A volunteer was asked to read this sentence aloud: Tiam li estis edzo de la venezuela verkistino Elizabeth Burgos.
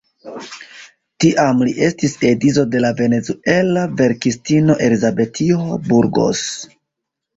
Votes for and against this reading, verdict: 1, 2, rejected